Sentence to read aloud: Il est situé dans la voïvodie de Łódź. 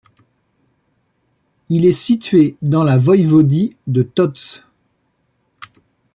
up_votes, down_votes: 1, 2